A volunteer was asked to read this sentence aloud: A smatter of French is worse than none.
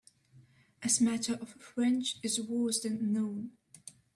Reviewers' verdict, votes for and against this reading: rejected, 0, 2